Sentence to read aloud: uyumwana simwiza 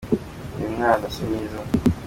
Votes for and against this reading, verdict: 2, 0, accepted